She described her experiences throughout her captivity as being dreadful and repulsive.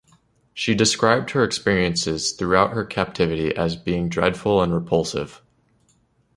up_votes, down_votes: 1, 2